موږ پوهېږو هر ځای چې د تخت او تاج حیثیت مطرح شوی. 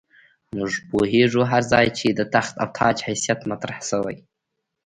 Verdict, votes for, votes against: rejected, 0, 2